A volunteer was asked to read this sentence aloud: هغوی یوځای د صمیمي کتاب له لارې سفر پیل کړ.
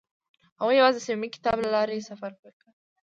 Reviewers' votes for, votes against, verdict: 0, 2, rejected